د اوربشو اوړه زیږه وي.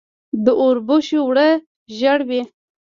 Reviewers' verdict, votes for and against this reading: rejected, 1, 2